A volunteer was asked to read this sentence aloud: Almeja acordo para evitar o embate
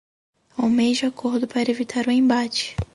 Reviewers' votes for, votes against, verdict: 2, 2, rejected